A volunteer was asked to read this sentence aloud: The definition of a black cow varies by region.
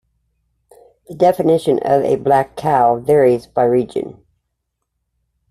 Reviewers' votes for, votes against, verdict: 2, 0, accepted